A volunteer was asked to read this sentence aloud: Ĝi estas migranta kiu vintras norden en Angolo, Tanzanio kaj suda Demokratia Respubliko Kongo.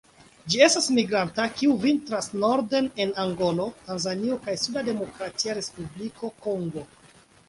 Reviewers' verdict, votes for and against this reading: accepted, 2, 0